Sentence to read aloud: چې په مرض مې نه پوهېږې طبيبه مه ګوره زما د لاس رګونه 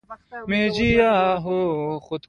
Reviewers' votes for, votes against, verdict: 2, 0, accepted